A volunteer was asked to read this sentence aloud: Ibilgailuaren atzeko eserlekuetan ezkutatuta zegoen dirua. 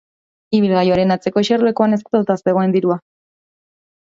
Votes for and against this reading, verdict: 1, 2, rejected